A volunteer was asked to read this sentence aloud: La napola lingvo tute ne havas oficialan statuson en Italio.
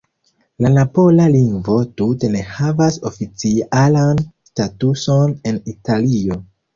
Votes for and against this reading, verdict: 2, 0, accepted